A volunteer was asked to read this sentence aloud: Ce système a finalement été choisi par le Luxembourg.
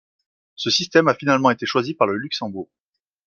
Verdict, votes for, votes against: accepted, 2, 0